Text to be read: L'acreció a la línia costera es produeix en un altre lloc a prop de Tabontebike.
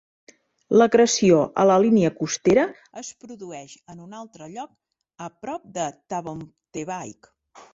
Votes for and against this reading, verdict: 1, 2, rejected